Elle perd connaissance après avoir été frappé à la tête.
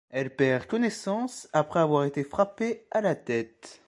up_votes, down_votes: 2, 0